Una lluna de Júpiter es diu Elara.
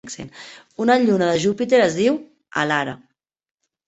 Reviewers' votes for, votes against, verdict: 2, 1, accepted